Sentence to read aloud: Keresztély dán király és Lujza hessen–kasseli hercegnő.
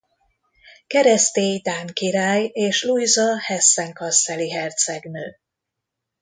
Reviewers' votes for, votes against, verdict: 2, 0, accepted